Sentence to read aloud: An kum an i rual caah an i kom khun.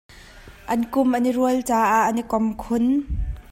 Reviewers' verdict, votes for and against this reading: accepted, 2, 0